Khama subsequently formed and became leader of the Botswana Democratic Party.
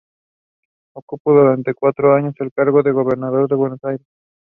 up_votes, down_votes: 1, 2